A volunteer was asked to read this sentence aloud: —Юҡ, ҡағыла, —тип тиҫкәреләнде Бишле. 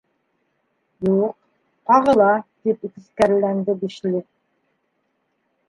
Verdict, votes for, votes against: rejected, 0, 2